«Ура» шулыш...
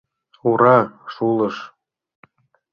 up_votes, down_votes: 2, 0